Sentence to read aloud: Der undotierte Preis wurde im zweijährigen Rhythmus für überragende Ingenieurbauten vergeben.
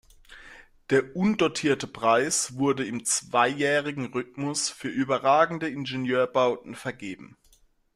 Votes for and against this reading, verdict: 2, 0, accepted